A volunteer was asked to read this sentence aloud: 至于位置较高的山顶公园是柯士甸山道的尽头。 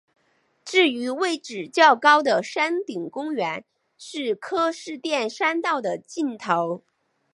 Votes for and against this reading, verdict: 2, 0, accepted